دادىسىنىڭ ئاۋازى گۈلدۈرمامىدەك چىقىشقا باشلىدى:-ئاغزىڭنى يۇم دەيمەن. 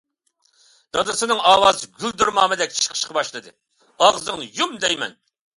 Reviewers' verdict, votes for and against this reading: accepted, 2, 0